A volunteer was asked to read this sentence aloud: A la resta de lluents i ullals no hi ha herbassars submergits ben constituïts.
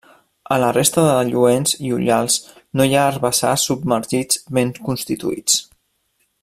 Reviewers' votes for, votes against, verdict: 1, 2, rejected